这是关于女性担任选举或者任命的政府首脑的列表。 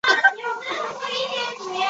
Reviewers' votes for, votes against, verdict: 0, 4, rejected